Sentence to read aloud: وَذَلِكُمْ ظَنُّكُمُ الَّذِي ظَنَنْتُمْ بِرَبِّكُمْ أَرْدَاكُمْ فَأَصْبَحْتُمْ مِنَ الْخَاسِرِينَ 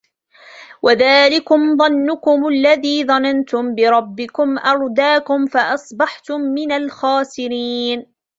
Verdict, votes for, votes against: accepted, 2, 0